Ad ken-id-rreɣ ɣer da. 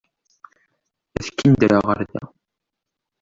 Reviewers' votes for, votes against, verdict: 0, 2, rejected